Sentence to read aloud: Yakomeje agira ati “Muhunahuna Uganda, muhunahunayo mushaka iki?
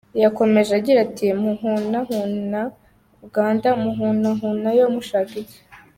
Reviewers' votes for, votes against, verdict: 2, 1, accepted